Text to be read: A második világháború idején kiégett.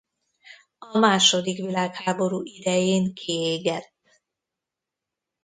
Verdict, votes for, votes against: rejected, 0, 2